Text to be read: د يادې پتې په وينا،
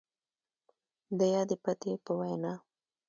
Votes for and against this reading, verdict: 1, 2, rejected